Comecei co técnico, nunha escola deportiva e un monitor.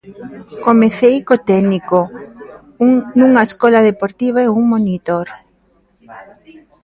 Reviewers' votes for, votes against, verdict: 0, 2, rejected